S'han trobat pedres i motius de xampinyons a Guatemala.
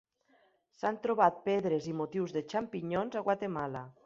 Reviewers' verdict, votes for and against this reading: accepted, 2, 0